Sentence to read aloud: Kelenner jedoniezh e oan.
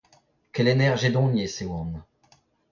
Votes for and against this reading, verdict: 2, 1, accepted